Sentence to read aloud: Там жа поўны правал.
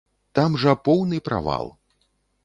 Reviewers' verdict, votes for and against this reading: accepted, 2, 0